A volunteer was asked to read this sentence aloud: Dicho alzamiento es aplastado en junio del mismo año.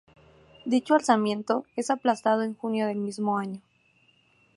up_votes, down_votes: 2, 0